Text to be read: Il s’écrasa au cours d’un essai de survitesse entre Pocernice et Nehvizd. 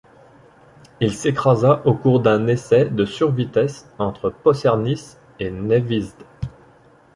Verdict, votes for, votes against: rejected, 1, 2